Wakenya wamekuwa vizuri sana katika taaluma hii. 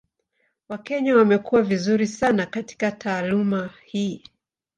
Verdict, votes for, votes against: accepted, 2, 0